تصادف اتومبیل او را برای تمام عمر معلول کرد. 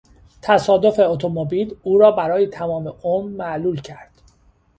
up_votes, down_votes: 2, 0